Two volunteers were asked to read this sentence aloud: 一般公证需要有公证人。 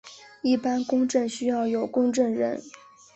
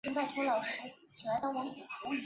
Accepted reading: first